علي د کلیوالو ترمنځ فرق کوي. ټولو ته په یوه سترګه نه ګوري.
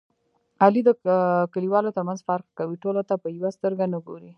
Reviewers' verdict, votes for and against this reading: rejected, 1, 2